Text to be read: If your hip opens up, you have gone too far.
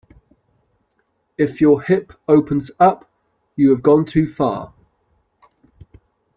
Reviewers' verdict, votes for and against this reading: accepted, 3, 0